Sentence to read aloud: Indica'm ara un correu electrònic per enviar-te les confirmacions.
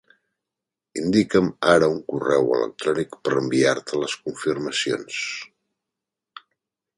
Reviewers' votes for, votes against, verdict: 3, 0, accepted